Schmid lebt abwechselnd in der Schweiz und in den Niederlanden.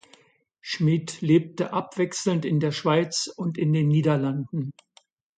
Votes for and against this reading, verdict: 0, 2, rejected